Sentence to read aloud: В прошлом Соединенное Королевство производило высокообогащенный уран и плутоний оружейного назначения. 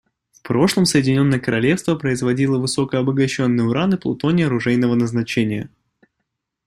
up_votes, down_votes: 2, 0